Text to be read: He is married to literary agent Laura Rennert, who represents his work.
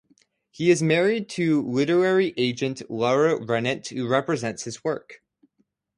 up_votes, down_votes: 2, 0